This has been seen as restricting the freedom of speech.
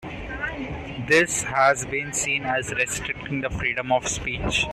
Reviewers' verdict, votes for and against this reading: accepted, 2, 0